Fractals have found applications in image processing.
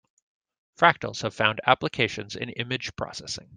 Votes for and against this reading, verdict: 2, 0, accepted